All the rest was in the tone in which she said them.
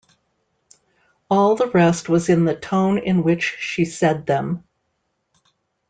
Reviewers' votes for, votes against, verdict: 2, 0, accepted